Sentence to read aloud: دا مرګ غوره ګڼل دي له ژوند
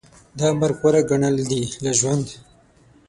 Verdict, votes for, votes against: accepted, 6, 0